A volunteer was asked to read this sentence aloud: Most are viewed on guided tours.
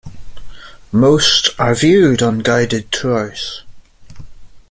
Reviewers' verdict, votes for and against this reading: accepted, 3, 0